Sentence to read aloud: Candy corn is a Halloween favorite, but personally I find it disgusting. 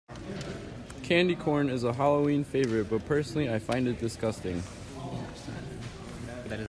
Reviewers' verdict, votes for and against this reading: rejected, 1, 2